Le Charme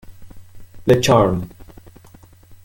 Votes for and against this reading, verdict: 1, 2, rejected